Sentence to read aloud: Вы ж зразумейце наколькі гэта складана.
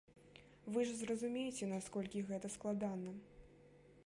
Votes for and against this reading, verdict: 0, 2, rejected